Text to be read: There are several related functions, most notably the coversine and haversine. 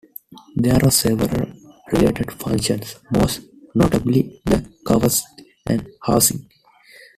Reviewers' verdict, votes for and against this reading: rejected, 0, 2